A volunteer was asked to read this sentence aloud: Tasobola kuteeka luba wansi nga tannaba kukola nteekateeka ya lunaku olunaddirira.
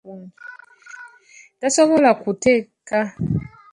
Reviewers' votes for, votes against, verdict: 0, 2, rejected